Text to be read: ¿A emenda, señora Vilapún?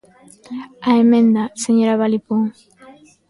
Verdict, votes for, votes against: rejected, 0, 2